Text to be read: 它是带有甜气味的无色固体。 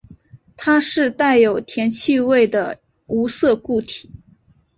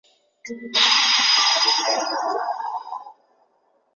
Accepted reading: first